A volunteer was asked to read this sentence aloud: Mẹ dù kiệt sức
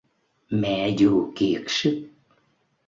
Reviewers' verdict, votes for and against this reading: accepted, 2, 0